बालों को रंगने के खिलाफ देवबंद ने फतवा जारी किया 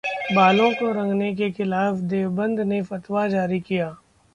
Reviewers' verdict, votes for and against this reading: accepted, 2, 0